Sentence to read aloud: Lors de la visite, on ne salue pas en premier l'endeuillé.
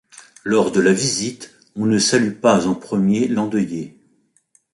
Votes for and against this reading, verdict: 2, 0, accepted